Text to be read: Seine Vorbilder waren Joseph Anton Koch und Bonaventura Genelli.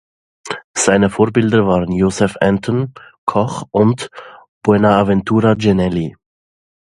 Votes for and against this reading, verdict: 1, 2, rejected